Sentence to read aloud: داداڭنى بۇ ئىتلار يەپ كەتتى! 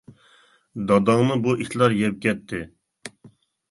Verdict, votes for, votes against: accepted, 2, 0